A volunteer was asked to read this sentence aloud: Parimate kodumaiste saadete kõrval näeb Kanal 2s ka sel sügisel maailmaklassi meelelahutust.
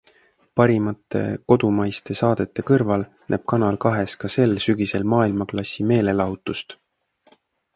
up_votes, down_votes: 0, 2